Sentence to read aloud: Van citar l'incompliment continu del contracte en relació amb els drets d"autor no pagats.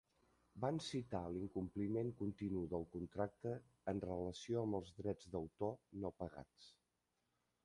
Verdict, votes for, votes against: rejected, 1, 2